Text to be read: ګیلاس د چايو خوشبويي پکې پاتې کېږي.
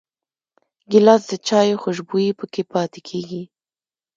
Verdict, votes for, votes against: rejected, 0, 2